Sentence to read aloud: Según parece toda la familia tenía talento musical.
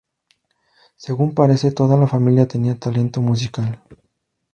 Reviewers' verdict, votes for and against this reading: accepted, 2, 0